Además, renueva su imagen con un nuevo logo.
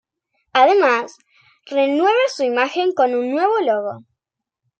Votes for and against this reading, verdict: 3, 0, accepted